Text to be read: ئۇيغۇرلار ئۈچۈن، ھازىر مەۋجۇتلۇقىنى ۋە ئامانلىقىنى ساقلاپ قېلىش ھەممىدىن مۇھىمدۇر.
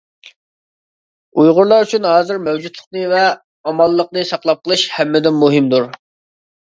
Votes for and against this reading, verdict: 2, 1, accepted